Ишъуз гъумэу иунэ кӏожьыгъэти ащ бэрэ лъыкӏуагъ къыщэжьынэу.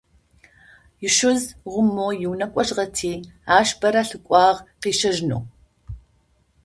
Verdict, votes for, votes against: accepted, 2, 0